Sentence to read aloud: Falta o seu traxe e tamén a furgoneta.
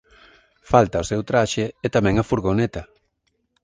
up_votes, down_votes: 2, 0